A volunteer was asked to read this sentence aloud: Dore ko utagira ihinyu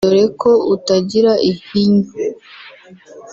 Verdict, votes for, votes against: accepted, 2, 0